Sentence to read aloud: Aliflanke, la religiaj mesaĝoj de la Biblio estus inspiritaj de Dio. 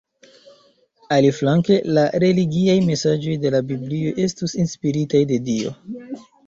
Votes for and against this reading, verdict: 1, 2, rejected